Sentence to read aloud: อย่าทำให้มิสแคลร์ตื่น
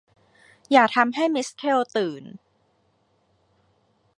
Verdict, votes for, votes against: accepted, 2, 0